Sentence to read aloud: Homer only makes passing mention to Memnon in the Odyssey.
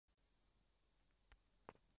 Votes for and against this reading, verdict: 1, 2, rejected